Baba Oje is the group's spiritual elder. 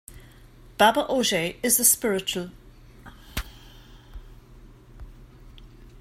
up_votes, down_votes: 0, 2